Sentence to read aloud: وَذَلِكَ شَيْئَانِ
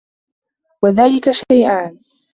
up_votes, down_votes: 1, 2